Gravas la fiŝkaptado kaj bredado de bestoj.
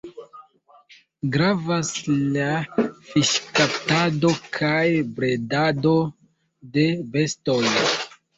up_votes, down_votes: 2, 1